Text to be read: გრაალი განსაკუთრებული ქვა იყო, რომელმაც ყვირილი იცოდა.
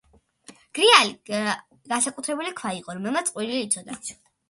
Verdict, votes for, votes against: rejected, 0, 2